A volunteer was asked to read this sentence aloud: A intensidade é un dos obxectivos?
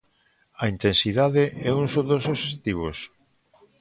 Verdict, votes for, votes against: rejected, 0, 2